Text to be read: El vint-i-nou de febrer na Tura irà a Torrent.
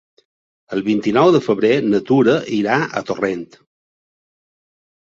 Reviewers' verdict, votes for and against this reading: accepted, 4, 0